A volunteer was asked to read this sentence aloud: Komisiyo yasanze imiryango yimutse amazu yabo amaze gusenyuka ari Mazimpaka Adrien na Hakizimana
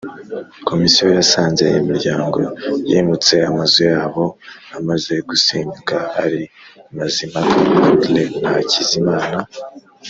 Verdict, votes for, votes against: rejected, 0, 2